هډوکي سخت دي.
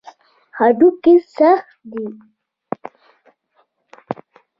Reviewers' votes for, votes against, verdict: 2, 0, accepted